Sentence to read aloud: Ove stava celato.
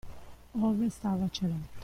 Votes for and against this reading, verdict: 0, 2, rejected